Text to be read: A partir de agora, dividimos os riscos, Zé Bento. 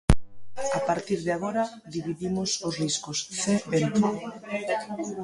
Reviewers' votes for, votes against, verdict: 0, 2, rejected